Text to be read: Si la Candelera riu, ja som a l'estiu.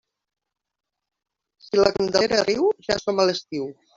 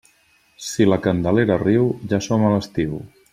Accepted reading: second